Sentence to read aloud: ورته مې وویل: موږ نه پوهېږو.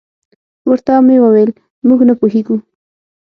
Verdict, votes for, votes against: accepted, 6, 0